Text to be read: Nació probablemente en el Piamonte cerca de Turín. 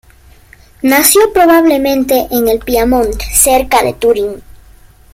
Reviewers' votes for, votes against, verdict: 2, 0, accepted